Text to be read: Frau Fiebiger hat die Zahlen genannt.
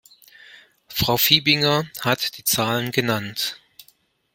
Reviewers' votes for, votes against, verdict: 0, 2, rejected